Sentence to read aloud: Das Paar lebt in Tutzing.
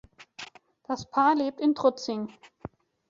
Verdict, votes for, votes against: rejected, 0, 3